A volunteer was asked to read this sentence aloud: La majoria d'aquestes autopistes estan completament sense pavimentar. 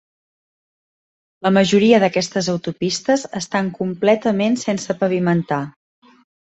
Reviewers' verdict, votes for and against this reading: accepted, 3, 0